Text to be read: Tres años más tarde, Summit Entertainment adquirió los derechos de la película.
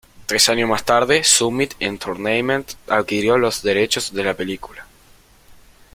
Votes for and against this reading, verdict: 1, 2, rejected